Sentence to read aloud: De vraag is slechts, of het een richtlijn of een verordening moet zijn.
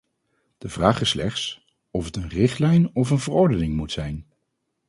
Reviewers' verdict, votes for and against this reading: rejected, 2, 2